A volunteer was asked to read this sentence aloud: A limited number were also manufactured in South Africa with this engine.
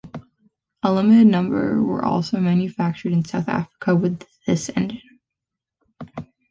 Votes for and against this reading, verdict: 2, 0, accepted